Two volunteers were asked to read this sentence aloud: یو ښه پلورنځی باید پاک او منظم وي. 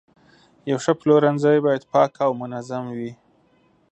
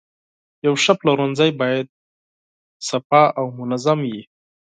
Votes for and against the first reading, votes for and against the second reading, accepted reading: 3, 0, 2, 4, first